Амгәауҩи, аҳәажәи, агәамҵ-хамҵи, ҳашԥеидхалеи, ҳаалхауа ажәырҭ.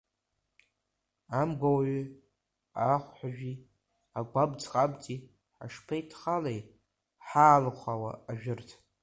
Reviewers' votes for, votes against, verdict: 1, 2, rejected